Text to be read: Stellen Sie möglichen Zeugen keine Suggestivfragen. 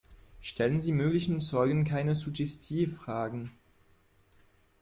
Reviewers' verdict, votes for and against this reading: rejected, 1, 2